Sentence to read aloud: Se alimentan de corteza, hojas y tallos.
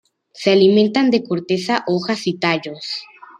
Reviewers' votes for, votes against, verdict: 2, 0, accepted